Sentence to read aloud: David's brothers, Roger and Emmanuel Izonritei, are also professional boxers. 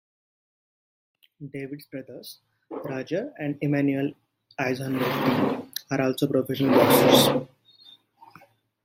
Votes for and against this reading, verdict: 1, 2, rejected